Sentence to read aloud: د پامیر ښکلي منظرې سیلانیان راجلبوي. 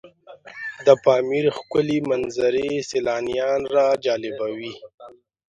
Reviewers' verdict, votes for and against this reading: rejected, 1, 2